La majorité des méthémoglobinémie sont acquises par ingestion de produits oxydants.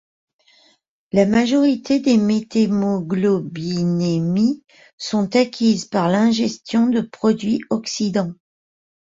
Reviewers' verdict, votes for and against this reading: rejected, 1, 2